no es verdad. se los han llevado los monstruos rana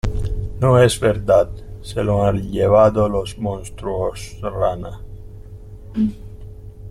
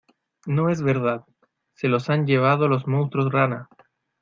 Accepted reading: second